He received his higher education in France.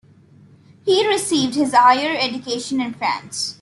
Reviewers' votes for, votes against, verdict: 2, 0, accepted